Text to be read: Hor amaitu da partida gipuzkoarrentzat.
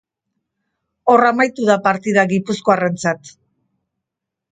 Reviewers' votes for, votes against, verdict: 2, 0, accepted